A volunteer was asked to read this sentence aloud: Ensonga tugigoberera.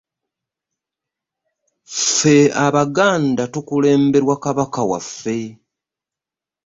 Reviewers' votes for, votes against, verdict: 0, 2, rejected